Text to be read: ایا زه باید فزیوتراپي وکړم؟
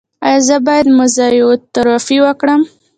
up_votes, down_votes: 0, 2